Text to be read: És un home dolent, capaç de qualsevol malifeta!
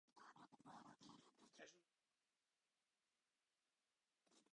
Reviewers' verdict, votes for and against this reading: rejected, 0, 2